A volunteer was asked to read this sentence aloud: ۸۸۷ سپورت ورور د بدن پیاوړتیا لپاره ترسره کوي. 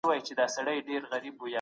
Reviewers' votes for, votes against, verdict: 0, 2, rejected